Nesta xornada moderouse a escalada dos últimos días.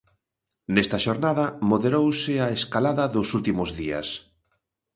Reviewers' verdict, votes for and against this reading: accepted, 2, 0